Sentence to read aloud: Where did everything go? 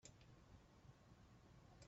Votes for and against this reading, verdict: 0, 2, rejected